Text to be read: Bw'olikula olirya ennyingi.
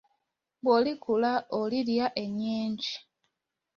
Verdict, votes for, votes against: accepted, 2, 0